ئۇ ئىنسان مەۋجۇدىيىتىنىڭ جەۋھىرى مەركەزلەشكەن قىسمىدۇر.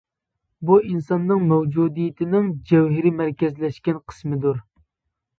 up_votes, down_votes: 0, 2